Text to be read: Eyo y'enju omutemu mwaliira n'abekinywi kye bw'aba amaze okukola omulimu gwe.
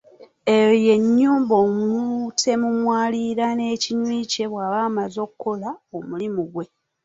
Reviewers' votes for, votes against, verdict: 1, 2, rejected